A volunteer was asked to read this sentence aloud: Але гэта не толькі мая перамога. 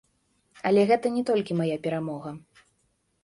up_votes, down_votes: 2, 0